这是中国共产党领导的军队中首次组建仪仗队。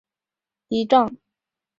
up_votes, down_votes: 0, 3